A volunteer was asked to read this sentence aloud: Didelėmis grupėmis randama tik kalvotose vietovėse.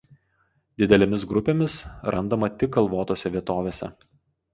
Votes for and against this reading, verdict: 2, 0, accepted